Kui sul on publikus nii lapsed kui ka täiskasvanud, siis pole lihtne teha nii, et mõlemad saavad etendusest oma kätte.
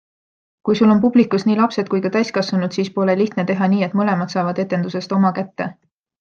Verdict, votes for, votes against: accepted, 2, 0